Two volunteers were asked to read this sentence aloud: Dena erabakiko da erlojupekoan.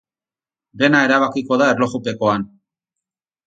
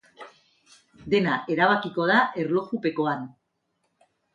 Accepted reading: second